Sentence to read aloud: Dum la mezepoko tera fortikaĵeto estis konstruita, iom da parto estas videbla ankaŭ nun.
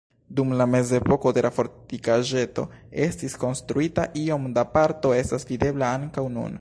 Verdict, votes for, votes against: rejected, 1, 2